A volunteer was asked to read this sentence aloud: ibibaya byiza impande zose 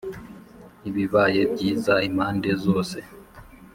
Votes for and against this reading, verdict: 0, 2, rejected